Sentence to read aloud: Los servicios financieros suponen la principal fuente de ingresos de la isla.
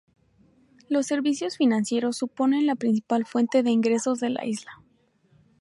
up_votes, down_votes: 2, 0